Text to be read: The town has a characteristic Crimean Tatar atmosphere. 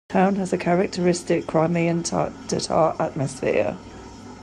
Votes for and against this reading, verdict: 0, 2, rejected